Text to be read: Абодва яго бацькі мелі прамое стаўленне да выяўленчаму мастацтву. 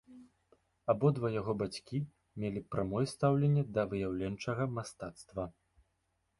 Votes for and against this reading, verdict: 1, 2, rejected